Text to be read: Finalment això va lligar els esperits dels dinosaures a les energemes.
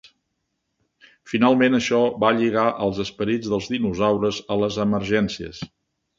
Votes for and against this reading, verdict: 1, 3, rejected